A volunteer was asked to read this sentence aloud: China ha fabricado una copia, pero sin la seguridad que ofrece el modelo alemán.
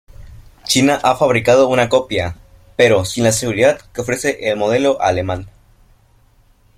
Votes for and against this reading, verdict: 1, 2, rejected